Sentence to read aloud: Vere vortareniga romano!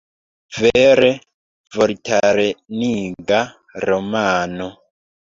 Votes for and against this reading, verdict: 2, 1, accepted